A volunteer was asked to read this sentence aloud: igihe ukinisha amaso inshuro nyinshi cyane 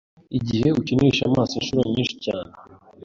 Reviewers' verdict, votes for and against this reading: accepted, 2, 0